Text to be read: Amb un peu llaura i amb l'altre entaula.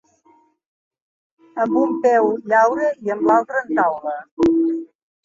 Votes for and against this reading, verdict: 1, 3, rejected